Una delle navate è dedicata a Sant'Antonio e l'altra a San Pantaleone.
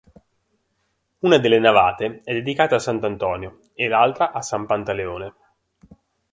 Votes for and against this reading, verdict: 3, 0, accepted